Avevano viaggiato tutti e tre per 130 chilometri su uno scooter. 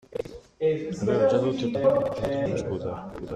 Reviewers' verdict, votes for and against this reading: rejected, 0, 2